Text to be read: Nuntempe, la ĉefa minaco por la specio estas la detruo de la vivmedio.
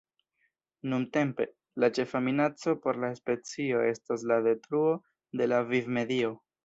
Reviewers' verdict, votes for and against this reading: accepted, 2, 0